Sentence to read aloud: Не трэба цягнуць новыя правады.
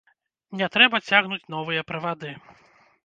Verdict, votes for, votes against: rejected, 0, 2